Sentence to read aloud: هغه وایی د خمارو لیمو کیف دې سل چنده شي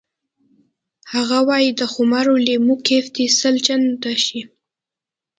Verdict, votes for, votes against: accepted, 2, 0